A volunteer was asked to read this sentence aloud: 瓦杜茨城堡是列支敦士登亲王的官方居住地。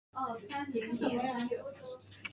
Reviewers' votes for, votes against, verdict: 0, 2, rejected